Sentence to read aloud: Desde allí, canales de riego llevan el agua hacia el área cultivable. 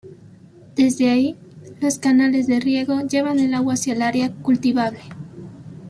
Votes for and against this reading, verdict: 1, 2, rejected